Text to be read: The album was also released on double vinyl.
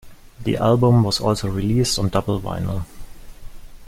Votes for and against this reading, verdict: 2, 1, accepted